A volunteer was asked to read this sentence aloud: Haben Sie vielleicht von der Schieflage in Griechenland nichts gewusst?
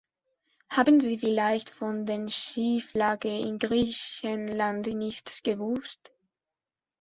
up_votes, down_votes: 1, 2